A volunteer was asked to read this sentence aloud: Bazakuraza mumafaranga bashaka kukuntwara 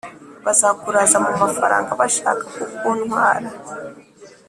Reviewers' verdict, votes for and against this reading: accepted, 2, 0